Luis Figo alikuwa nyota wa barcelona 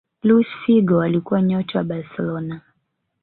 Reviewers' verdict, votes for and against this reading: rejected, 1, 2